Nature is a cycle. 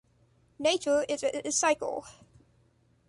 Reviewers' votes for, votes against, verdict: 1, 2, rejected